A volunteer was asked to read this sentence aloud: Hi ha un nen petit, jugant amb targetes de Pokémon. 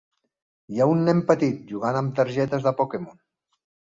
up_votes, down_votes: 3, 0